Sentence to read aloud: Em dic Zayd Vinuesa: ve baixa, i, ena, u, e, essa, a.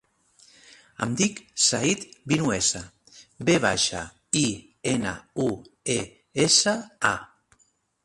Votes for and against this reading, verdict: 3, 0, accepted